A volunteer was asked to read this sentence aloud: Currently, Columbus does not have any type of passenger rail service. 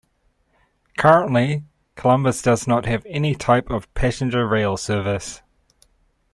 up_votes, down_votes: 2, 0